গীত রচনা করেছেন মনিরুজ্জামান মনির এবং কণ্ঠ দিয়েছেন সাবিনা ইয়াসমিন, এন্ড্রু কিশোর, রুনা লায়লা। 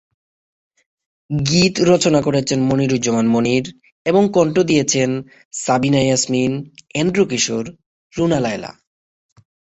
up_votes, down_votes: 3, 0